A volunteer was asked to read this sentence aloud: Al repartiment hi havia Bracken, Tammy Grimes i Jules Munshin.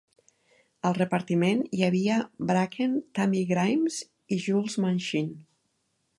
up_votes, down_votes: 2, 0